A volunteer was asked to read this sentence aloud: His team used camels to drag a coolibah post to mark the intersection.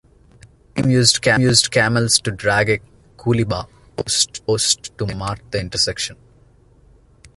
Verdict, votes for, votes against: rejected, 0, 2